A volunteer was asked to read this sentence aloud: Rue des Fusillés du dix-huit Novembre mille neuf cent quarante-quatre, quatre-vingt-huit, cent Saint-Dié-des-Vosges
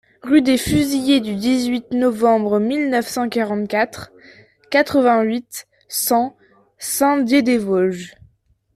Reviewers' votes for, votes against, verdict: 2, 0, accepted